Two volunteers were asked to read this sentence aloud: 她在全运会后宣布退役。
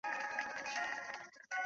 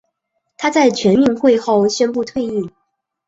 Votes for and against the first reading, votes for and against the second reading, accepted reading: 1, 2, 3, 0, second